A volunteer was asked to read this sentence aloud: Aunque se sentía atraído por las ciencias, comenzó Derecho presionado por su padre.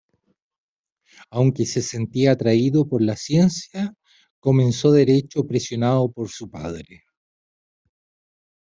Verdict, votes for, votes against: rejected, 1, 2